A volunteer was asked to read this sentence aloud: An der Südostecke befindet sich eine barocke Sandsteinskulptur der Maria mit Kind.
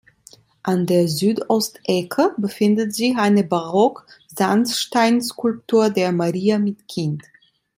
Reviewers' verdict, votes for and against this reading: rejected, 0, 2